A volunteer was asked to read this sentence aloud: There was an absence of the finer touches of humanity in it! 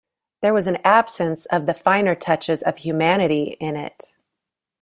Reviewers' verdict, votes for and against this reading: accepted, 2, 0